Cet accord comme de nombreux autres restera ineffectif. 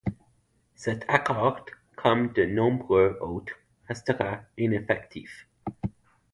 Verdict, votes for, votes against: accepted, 2, 0